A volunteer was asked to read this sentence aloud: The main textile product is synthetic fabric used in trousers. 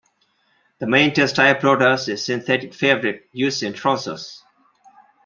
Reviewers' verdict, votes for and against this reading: accepted, 2, 0